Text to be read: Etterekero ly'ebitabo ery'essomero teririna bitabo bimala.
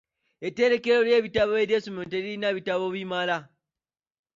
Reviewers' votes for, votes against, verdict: 0, 2, rejected